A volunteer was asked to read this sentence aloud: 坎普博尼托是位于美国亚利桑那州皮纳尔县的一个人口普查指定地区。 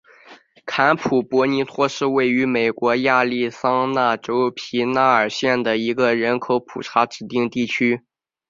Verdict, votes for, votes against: accepted, 7, 0